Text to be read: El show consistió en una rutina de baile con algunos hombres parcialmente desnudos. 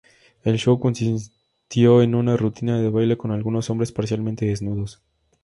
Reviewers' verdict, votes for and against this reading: accepted, 2, 0